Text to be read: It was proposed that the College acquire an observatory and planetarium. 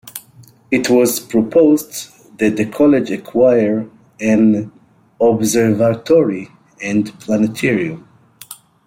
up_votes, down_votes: 2, 1